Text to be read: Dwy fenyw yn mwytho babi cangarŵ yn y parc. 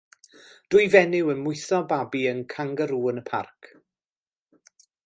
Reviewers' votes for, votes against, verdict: 0, 2, rejected